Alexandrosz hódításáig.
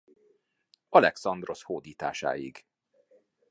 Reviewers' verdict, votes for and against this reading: accepted, 2, 0